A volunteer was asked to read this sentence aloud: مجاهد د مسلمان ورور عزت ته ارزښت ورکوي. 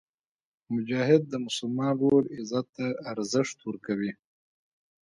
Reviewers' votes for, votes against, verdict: 0, 2, rejected